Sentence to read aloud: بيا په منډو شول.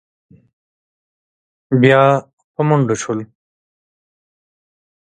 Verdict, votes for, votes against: rejected, 1, 2